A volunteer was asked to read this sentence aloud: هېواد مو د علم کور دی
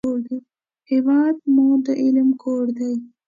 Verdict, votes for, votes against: accepted, 2, 0